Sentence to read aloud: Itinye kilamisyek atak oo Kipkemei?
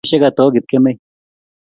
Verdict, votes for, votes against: rejected, 1, 2